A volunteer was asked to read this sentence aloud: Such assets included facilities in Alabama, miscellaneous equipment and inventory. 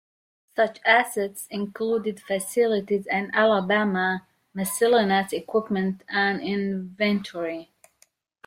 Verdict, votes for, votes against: rejected, 0, 2